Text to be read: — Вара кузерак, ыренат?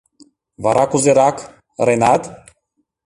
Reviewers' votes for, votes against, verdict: 2, 0, accepted